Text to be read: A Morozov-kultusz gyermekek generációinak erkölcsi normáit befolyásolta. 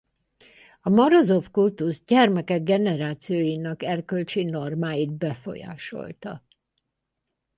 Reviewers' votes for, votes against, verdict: 2, 4, rejected